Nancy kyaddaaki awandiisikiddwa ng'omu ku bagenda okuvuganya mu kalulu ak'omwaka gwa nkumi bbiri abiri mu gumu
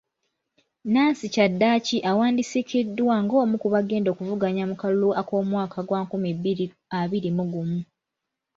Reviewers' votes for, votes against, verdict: 2, 0, accepted